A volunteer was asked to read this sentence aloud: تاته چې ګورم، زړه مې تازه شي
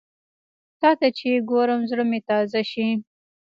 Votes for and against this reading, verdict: 0, 2, rejected